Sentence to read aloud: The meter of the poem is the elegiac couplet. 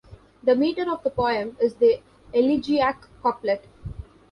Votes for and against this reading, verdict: 1, 2, rejected